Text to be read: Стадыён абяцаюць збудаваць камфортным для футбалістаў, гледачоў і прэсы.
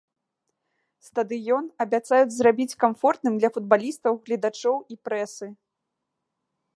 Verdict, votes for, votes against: rejected, 0, 2